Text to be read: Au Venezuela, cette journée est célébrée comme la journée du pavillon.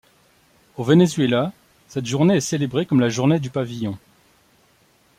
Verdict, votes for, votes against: accepted, 2, 0